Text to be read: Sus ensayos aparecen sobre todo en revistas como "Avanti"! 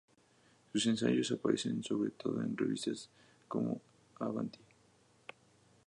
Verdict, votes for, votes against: accepted, 2, 0